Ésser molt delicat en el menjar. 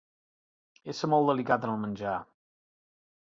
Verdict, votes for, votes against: rejected, 1, 2